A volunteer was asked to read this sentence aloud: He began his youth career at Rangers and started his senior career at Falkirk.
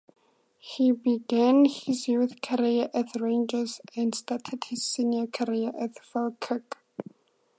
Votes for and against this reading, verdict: 4, 2, accepted